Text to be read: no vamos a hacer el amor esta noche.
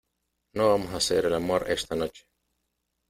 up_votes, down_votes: 2, 0